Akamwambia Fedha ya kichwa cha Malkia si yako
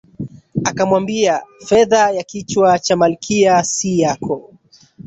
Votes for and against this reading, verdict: 8, 2, accepted